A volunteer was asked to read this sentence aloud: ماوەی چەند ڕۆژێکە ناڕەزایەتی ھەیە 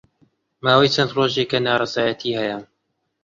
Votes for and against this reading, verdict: 3, 0, accepted